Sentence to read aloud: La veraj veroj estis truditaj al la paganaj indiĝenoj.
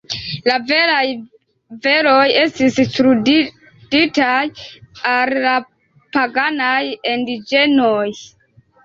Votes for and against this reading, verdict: 3, 4, rejected